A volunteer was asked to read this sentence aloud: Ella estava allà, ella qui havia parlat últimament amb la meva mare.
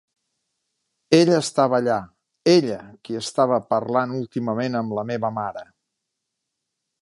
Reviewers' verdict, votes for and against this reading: rejected, 1, 2